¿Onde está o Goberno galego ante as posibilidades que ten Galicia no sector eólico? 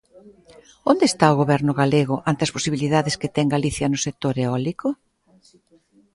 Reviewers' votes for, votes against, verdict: 1, 2, rejected